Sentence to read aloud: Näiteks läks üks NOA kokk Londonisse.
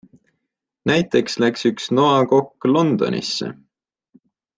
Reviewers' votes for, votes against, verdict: 2, 0, accepted